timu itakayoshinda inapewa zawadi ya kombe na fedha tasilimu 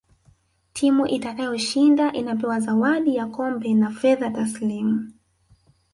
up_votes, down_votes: 2, 0